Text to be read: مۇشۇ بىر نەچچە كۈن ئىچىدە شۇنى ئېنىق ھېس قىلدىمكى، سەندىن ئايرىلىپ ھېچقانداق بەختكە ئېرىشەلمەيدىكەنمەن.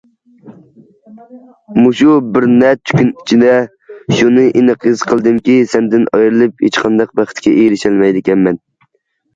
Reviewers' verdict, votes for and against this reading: accepted, 2, 0